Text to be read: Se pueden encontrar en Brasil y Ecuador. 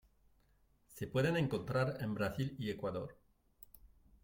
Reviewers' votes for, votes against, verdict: 2, 0, accepted